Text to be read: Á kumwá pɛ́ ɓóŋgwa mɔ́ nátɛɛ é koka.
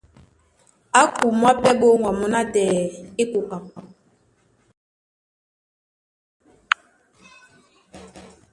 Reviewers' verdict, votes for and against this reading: accepted, 2, 0